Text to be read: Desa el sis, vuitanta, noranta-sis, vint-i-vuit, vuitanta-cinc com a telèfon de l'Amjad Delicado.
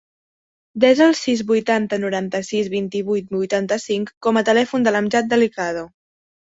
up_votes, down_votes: 2, 0